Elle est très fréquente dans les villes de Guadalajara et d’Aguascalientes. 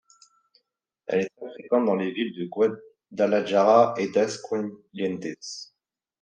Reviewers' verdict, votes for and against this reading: rejected, 1, 2